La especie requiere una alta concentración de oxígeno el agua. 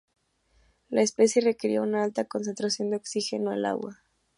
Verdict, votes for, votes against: accepted, 2, 0